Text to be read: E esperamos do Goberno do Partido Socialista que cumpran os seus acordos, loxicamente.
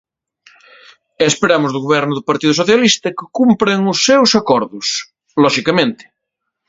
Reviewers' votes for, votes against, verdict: 2, 0, accepted